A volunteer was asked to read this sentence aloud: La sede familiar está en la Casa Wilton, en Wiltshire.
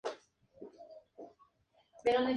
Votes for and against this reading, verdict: 0, 2, rejected